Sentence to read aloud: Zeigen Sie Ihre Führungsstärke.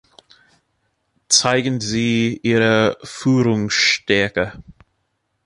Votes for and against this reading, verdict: 2, 1, accepted